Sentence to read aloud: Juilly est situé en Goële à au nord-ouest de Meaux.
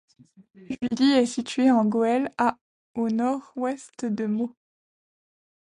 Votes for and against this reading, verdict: 1, 2, rejected